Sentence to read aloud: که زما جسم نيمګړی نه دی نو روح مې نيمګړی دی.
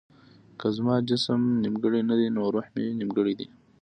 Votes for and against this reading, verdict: 2, 1, accepted